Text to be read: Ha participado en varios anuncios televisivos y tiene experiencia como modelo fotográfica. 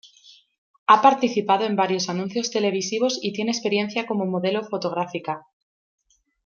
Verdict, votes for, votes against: accepted, 2, 0